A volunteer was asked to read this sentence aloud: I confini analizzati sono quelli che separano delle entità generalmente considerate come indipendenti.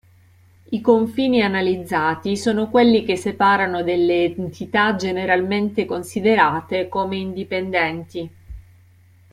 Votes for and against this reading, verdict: 1, 2, rejected